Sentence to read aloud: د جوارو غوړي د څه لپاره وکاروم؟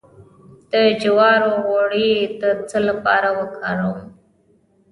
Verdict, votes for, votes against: rejected, 1, 2